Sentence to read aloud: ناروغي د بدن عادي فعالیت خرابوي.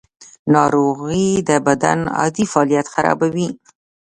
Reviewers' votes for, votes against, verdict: 0, 2, rejected